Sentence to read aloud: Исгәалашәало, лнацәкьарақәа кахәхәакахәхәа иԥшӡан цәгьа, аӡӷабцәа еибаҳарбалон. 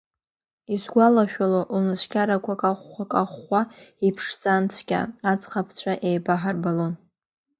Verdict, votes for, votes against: rejected, 0, 2